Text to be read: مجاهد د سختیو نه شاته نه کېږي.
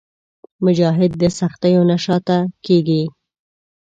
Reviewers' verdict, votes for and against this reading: rejected, 1, 2